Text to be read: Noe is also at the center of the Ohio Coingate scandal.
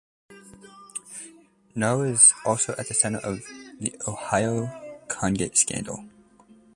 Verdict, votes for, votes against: rejected, 0, 2